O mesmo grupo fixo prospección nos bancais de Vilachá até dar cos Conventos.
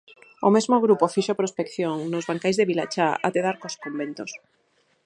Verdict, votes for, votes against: rejected, 2, 2